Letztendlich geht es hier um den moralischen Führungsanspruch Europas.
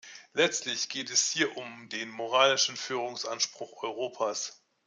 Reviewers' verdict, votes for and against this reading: rejected, 0, 2